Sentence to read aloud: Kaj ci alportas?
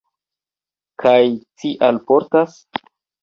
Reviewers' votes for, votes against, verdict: 2, 1, accepted